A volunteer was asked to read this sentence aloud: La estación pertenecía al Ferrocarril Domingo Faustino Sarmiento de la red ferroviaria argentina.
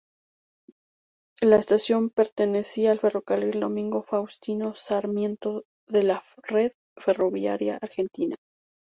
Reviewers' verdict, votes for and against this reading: accepted, 2, 0